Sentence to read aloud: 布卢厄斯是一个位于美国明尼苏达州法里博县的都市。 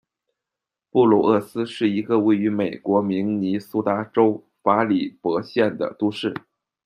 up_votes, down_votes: 2, 0